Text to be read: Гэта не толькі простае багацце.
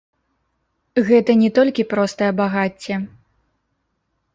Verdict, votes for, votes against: rejected, 0, 2